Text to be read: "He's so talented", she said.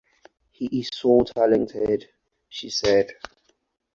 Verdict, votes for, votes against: accepted, 4, 2